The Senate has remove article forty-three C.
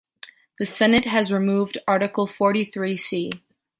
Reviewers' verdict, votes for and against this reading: rejected, 1, 2